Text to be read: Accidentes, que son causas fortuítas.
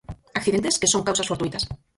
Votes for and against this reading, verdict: 0, 4, rejected